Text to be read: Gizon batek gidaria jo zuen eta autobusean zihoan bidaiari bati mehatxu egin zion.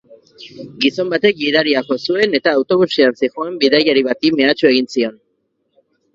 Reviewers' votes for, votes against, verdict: 0, 2, rejected